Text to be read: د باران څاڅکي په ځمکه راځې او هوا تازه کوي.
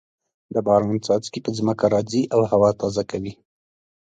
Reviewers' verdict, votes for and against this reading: accepted, 2, 0